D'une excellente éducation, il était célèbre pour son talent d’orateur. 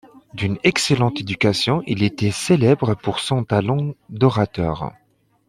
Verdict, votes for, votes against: accepted, 2, 0